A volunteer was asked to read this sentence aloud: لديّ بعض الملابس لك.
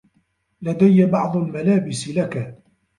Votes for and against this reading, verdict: 2, 0, accepted